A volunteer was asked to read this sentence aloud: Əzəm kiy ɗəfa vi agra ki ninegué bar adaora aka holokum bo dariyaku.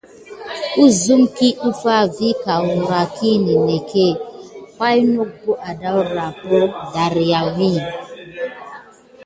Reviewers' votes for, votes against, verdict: 3, 0, accepted